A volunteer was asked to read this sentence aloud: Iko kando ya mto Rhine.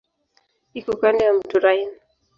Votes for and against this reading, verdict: 2, 0, accepted